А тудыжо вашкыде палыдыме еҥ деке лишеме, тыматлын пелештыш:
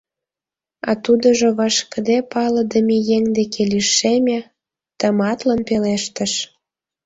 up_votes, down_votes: 2, 0